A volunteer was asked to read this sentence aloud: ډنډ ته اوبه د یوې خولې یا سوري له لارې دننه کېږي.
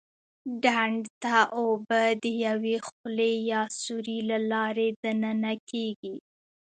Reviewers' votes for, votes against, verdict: 2, 0, accepted